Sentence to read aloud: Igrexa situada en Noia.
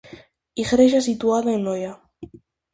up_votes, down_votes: 4, 0